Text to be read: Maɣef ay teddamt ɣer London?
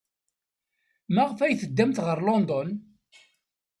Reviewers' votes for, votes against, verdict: 2, 0, accepted